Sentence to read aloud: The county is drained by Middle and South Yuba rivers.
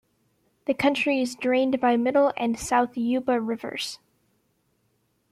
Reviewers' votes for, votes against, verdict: 1, 2, rejected